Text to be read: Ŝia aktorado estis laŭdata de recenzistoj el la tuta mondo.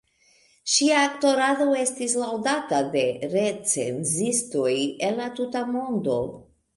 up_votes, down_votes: 2, 1